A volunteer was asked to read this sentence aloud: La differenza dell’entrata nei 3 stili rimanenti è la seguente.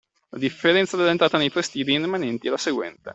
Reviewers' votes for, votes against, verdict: 0, 2, rejected